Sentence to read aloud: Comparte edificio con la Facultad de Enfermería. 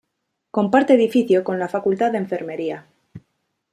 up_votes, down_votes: 2, 0